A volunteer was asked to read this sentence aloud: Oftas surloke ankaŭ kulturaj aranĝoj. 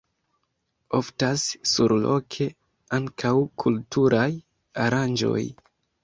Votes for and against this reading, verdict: 2, 1, accepted